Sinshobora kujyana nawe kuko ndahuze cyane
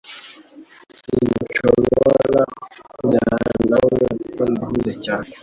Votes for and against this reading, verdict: 1, 2, rejected